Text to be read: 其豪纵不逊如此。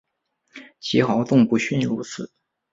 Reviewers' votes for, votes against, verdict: 4, 0, accepted